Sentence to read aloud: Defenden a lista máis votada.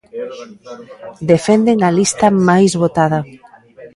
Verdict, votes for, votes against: rejected, 0, 2